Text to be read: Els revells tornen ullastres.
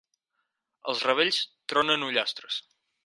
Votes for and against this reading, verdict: 0, 6, rejected